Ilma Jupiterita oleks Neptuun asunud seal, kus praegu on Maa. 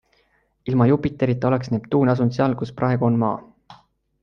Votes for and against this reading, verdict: 2, 0, accepted